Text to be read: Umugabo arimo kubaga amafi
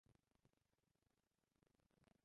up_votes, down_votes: 0, 2